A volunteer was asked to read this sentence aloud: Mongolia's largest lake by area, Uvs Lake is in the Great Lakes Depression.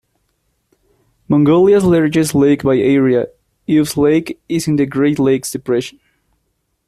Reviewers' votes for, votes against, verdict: 2, 0, accepted